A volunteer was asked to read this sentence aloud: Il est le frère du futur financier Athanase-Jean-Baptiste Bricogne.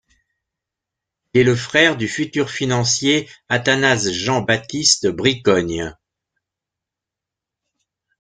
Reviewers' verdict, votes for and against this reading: rejected, 1, 2